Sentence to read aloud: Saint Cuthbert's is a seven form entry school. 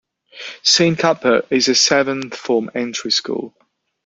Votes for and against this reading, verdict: 2, 0, accepted